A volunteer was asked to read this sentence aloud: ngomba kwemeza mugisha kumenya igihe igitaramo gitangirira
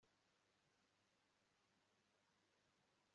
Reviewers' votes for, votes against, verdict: 0, 2, rejected